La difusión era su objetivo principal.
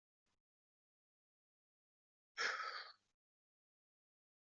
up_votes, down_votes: 0, 2